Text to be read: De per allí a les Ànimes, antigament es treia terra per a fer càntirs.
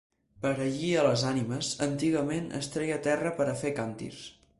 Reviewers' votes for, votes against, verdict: 1, 2, rejected